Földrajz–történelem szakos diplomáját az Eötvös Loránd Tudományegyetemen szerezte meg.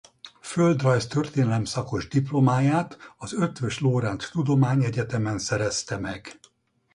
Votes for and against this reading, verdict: 2, 0, accepted